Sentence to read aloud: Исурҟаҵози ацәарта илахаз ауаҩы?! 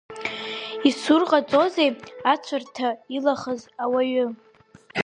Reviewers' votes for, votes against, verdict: 1, 2, rejected